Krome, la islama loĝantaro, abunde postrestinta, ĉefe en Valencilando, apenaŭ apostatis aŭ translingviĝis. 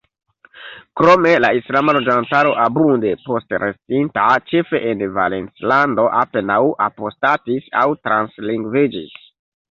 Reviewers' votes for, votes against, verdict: 2, 0, accepted